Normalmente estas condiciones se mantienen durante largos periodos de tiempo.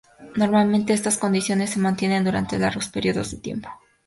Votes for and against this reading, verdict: 2, 0, accepted